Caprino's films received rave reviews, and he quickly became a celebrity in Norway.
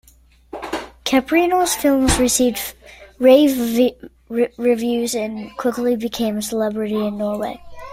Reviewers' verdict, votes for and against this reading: rejected, 1, 2